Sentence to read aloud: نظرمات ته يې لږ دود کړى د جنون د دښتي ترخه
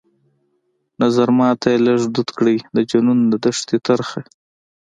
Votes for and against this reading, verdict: 2, 0, accepted